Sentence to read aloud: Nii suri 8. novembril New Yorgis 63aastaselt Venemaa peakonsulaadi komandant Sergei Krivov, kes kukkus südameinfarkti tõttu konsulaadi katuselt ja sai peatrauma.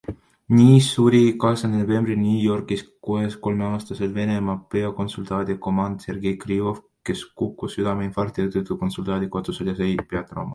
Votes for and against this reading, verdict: 0, 2, rejected